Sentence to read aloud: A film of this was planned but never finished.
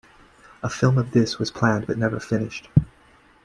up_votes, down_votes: 2, 0